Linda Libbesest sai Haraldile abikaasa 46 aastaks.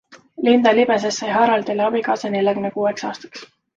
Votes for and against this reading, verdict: 0, 2, rejected